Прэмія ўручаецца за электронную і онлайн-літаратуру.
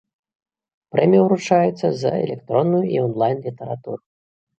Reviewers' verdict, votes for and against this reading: accepted, 2, 0